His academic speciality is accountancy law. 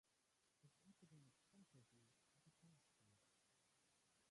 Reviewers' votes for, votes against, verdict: 0, 2, rejected